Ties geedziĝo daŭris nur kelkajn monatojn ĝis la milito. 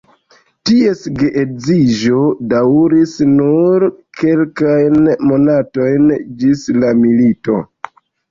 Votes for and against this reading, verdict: 1, 2, rejected